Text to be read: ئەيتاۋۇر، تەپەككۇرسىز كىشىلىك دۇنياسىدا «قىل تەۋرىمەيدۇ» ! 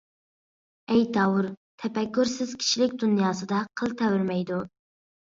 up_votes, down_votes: 2, 0